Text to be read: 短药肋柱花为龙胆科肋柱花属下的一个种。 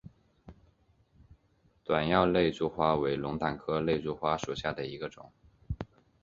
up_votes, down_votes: 1, 2